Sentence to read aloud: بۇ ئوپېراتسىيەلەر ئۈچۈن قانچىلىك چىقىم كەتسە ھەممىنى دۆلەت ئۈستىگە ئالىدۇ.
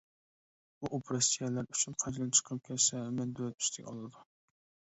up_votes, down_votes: 0, 2